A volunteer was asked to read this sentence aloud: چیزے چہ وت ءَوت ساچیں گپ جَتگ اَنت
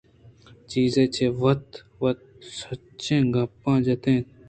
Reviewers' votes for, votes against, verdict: 1, 2, rejected